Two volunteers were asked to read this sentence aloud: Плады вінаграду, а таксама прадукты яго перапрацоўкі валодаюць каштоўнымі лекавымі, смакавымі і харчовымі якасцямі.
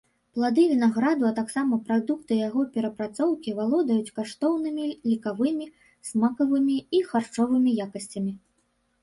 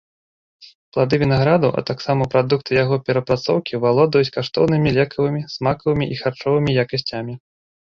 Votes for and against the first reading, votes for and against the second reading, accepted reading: 2, 1, 1, 2, first